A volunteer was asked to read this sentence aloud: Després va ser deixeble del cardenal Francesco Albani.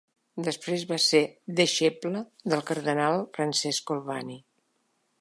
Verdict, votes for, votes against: accepted, 2, 0